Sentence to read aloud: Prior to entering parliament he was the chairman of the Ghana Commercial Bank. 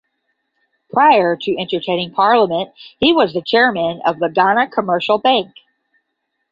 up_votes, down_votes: 5, 5